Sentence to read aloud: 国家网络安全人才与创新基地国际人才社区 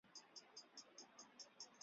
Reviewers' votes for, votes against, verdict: 0, 3, rejected